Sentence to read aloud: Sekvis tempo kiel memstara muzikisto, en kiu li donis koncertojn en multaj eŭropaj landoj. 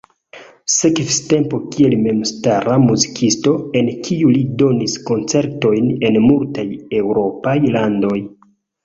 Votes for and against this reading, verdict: 0, 2, rejected